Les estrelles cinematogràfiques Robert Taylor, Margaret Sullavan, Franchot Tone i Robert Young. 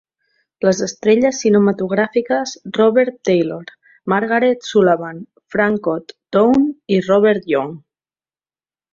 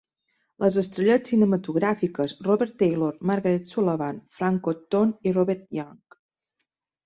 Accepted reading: first